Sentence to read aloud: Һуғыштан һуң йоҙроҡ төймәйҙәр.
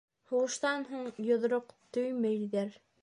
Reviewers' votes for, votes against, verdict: 1, 2, rejected